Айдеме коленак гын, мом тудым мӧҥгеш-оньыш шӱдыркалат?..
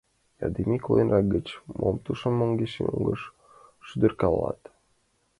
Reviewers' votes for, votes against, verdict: 0, 2, rejected